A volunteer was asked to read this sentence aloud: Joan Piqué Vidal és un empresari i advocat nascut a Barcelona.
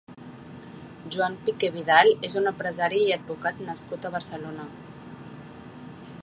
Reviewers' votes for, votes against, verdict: 2, 0, accepted